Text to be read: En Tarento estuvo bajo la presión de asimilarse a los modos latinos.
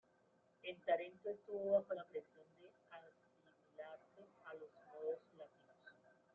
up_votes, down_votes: 1, 2